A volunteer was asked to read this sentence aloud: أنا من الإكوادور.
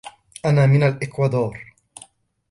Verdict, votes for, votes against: accepted, 2, 1